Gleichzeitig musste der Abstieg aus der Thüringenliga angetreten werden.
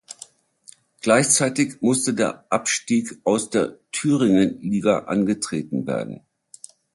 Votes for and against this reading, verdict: 2, 0, accepted